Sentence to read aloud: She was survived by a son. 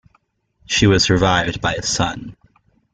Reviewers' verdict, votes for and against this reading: accepted, 2, 0